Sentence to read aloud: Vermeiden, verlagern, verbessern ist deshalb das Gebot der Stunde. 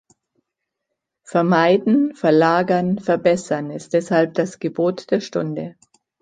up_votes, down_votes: 2, 0